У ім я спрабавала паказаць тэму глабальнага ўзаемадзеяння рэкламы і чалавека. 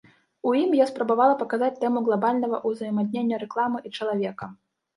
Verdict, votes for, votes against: rejected, 0, 2